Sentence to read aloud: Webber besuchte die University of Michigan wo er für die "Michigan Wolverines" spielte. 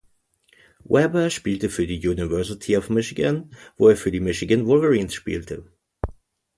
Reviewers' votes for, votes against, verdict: 0, 2, rejected